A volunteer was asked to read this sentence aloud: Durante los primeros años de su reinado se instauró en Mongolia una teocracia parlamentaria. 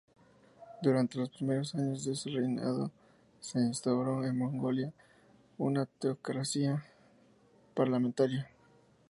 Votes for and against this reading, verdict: 0, 2, rejected